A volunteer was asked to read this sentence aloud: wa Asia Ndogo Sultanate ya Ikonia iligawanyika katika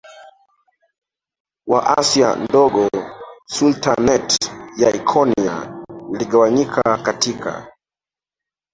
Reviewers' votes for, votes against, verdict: 0, 2, rejected